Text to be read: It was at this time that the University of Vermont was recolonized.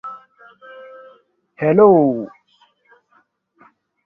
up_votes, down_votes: 0, 2